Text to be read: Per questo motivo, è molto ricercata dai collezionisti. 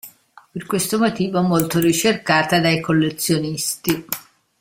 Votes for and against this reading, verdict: 2, 0, accepted